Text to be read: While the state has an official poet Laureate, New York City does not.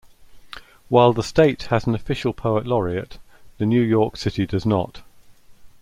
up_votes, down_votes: 0, 2